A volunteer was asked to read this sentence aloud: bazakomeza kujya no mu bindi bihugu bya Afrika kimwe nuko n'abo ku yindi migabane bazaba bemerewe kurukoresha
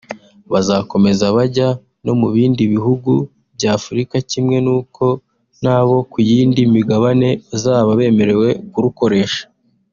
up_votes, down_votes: 0, 2